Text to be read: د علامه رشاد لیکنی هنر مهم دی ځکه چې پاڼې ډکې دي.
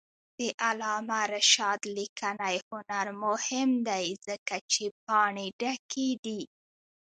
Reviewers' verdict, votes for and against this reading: rejected, 0, 2